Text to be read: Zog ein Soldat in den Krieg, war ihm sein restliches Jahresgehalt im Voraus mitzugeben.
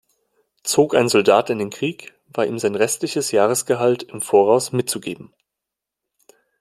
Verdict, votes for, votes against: accepted, 2, 0